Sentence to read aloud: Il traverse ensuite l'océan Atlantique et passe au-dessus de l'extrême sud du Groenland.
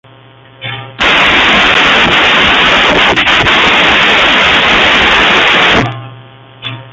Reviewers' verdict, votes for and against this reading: rejected, 0, 2